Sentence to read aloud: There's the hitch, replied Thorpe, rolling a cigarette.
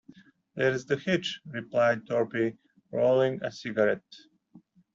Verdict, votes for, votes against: rejected, 1, 2